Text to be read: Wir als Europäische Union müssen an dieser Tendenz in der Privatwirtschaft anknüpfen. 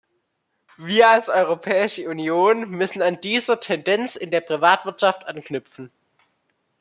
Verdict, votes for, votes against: accepted, 2, 1